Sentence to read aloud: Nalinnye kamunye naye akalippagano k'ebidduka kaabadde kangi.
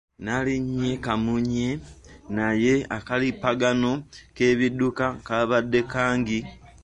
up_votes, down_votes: 2, 0